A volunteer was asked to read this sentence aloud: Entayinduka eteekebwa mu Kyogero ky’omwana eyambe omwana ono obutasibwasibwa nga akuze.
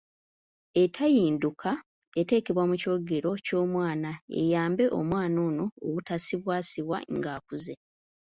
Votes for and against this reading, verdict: 1, 2, rejected